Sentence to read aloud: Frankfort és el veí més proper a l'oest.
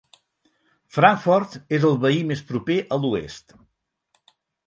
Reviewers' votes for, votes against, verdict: 4, 0, accepted